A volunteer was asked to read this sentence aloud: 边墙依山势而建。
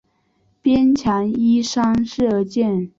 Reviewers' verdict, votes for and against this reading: rejected, 1, 2